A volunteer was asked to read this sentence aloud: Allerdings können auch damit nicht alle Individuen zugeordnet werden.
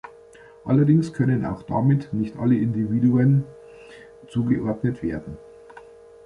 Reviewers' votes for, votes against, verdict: 2, 0, accepted